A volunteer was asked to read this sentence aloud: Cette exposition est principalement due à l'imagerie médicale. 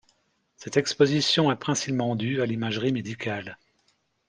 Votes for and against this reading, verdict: 0, 2, rejected